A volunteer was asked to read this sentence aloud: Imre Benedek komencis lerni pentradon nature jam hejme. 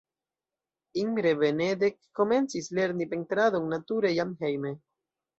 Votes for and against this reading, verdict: 0, 2, rejected